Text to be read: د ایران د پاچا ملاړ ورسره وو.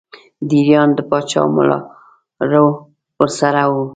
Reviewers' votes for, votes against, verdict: 1, 2, rejected